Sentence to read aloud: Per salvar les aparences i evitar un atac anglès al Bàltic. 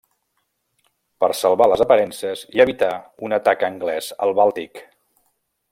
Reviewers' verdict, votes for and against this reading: accepted, 2, 0